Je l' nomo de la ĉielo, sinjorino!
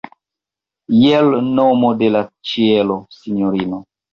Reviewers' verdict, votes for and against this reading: rejected, 1, 2